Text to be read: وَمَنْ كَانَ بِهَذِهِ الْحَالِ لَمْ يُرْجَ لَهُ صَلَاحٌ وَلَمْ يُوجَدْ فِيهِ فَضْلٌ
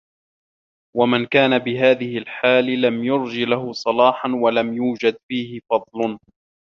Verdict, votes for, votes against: rejected, 1, 2